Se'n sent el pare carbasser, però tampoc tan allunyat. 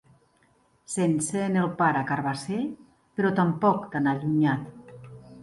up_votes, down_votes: 2, 0